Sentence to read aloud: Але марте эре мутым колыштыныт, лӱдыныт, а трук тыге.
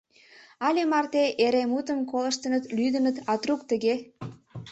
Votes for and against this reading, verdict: 2, 0, accepted